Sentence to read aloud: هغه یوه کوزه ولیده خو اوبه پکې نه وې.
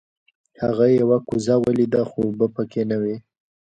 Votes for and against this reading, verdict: 1, 2, rejected